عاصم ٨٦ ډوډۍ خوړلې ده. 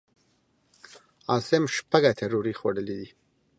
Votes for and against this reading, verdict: 0, 2, rejected